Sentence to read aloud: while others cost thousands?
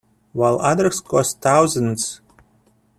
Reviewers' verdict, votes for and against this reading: accepted, 2, 0